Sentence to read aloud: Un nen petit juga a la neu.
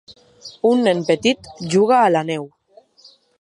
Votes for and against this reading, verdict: 2, 0, accepted